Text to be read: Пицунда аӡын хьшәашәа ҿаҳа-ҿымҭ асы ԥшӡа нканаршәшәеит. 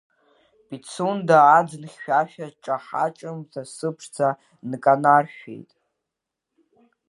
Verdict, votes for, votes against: accepted, 2, 1